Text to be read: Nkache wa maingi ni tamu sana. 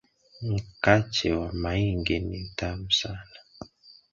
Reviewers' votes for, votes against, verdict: 2, 1, accepted